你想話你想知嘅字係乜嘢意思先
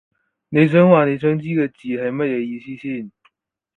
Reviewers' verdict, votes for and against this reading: accepted, 4, 0